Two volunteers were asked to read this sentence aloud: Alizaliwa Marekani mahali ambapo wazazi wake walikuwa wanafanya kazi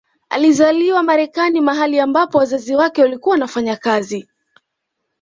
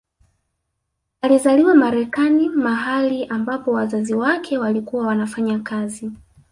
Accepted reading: first